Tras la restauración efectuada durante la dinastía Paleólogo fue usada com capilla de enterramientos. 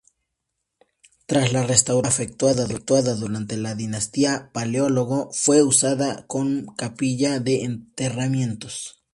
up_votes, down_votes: 2, 0